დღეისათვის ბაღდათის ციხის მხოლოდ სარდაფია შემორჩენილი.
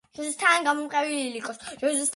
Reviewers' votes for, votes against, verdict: 0, 2, rejected